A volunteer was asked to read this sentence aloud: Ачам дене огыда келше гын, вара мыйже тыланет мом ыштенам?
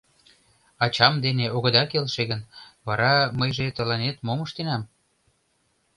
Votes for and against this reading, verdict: 2, 0, accepted